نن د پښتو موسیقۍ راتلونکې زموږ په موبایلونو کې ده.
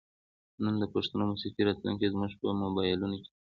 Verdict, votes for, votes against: accepted, 2, 1